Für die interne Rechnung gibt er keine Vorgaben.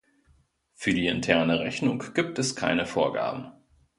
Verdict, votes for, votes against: rejected, 0, 2